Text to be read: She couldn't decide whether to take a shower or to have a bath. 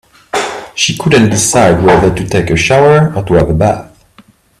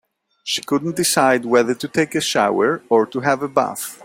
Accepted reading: second